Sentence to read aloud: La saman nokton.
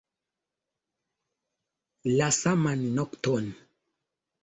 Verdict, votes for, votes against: rejected, 0, 2